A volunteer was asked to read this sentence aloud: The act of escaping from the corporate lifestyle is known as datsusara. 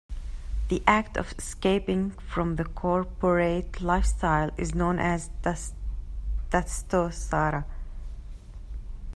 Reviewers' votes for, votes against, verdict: 0, 2, rejected